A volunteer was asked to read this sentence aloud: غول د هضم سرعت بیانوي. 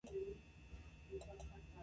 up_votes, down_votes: 0, 2